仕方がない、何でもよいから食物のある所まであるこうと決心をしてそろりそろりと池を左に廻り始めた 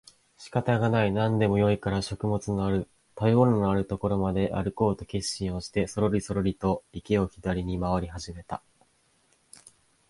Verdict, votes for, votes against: rejected, 1, 2